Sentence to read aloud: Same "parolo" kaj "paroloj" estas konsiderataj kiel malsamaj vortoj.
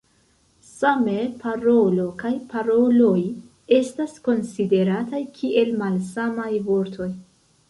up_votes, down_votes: 1, 3